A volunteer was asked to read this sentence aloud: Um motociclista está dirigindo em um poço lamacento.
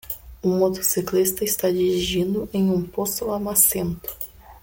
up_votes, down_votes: 2, 0